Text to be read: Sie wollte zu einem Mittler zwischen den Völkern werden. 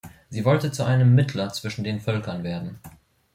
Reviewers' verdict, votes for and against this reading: accepted, 2, 0